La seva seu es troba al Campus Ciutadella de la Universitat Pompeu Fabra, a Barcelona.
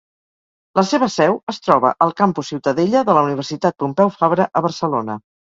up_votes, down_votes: 4, 0